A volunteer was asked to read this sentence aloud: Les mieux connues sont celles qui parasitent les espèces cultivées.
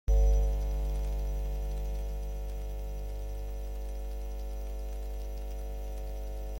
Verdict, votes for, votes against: rejected, 0, 2